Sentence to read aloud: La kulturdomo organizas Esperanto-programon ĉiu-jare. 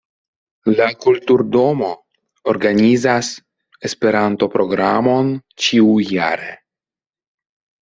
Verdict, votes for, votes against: accepted, 2, 0